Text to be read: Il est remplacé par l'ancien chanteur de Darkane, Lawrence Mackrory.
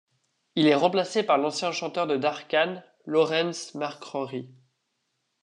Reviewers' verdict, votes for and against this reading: rejected, 1, 2